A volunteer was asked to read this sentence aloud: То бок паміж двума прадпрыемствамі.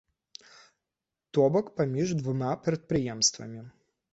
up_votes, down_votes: 2, 0